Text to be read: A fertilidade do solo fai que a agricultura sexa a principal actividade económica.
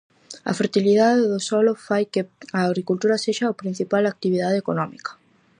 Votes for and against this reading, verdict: 0, 4, rejected